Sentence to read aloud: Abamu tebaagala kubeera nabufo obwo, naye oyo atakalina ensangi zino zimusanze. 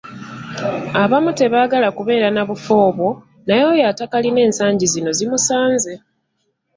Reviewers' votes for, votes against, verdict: 3, 1, accepted